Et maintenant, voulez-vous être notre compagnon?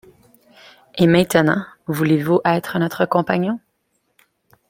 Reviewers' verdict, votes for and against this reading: accepted, 2, 1